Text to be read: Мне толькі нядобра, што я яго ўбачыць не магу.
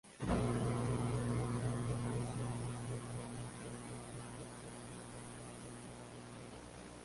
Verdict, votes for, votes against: rejected, 0, 2